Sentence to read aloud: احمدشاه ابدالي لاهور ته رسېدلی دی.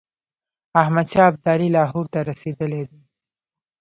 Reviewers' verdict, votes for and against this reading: rejected, 1, 2